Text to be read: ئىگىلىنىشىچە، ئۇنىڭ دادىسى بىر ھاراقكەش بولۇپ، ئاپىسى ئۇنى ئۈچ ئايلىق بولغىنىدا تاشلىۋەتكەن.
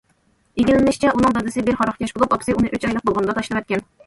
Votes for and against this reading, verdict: 2, 1, accepted